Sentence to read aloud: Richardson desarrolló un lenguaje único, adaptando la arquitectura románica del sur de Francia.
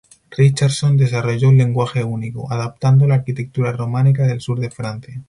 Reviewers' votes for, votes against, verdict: 2, 0, accepted